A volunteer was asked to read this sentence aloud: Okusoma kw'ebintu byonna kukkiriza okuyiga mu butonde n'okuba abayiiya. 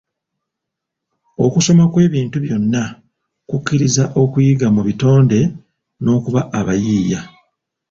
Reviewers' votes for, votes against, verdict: 1, 2, rejected